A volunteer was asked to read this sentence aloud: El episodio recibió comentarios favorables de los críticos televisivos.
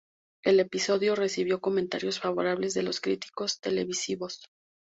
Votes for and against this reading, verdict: 2, 0, accepted